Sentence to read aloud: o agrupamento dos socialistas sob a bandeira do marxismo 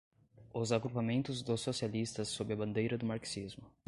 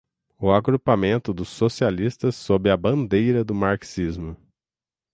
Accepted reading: second